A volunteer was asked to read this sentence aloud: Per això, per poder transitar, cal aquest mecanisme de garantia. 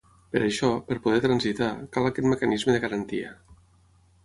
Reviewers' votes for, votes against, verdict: 6, 0, accepted